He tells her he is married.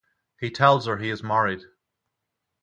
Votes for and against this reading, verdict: 3, 3, rejected